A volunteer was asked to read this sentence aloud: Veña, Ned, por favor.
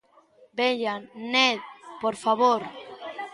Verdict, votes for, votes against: accepted, 2, 1